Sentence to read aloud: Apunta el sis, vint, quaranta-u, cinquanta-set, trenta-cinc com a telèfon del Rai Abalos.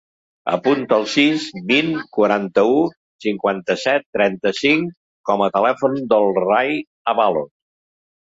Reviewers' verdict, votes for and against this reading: accepted, 2, 0